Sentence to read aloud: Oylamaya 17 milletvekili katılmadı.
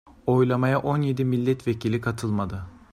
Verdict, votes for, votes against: rejected, 0, 2